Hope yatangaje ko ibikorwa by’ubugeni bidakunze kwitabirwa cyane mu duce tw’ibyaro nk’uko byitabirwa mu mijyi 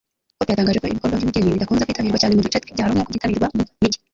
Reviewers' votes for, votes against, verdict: 0, 2, rejected